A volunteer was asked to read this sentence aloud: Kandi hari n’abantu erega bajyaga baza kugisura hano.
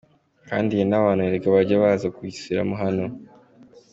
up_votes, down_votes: 2, 1